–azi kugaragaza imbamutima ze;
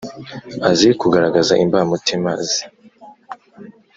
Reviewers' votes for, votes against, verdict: 2, 0, accepted